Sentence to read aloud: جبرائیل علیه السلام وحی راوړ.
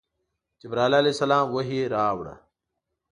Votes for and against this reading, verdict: 2, 1, accepted